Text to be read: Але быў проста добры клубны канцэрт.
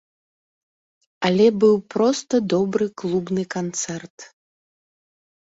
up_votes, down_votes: 2, 0